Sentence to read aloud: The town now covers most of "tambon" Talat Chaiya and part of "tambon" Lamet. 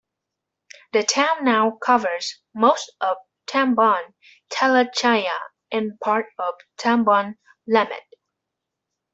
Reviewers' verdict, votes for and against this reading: rejected, 1, 2